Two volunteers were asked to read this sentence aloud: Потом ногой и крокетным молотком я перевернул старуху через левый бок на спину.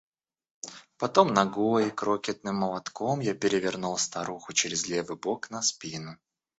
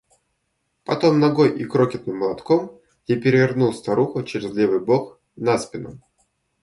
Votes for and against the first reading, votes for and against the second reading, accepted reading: 1, 2, 2, 0, second